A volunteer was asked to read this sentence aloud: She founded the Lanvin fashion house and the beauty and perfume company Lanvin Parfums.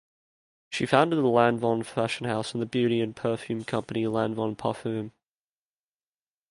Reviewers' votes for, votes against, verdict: 1, 2, rejected